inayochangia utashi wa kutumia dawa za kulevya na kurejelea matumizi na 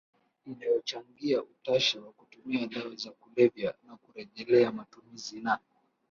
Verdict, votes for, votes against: accepted, 3, 1